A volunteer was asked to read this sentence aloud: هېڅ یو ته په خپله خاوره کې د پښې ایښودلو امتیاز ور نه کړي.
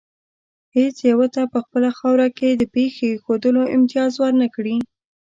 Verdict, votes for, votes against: accepted, 2, 0